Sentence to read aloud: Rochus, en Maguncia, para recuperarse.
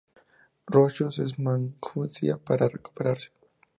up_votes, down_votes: 2, 0